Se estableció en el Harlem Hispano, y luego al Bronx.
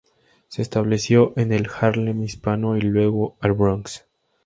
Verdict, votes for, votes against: accepted, 2, 0